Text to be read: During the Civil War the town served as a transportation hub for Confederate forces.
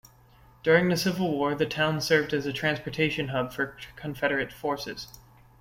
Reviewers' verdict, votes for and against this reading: accepted, 2, 0